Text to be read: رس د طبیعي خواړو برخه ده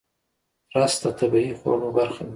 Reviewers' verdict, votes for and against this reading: accepted, 2, 0